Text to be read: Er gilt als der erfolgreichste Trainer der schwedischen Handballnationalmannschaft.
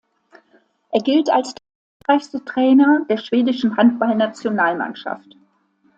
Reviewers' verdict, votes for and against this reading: rejected, 0, 2